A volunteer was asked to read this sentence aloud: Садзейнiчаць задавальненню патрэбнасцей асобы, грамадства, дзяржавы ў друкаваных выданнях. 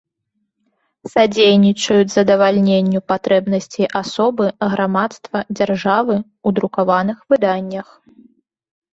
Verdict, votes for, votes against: rejected, 1, 2